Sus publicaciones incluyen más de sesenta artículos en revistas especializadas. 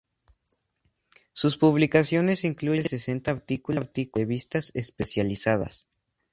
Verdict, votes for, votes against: rejected, 2, 4